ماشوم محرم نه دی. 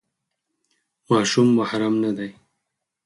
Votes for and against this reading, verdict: 4, 0, accepted